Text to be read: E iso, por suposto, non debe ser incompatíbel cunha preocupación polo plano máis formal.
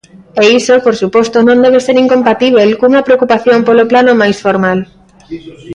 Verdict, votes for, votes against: rejected, 0, 2